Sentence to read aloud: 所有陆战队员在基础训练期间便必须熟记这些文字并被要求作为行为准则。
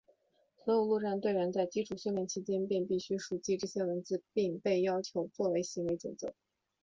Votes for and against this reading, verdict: 2, 1, accepted